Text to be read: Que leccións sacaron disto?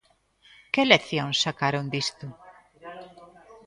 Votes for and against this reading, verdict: 0, 2, rejected